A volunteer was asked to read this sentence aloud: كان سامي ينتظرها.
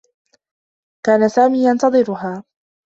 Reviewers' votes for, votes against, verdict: 2, 0, accepted